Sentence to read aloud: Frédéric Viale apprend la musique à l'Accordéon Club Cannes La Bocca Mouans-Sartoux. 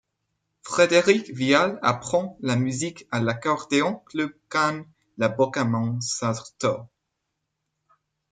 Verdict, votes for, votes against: accepted, 2, 0